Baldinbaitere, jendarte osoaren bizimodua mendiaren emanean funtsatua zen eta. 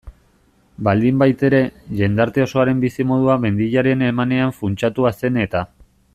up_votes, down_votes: 2, 0